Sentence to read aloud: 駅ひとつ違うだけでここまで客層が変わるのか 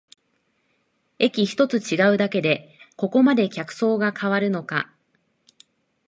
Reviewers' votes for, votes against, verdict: 2, 0, accepted